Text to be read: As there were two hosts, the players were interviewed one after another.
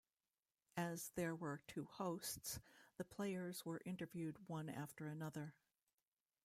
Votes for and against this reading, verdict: 1, 2, rejected